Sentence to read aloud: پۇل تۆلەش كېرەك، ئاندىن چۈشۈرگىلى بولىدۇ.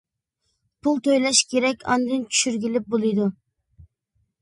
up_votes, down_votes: 3, 0